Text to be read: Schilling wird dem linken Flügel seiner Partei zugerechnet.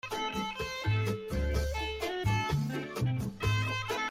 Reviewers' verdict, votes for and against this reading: rejected, 0, 2